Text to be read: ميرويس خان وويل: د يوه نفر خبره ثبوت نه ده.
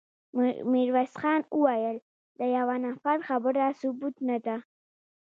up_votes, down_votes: 2, 1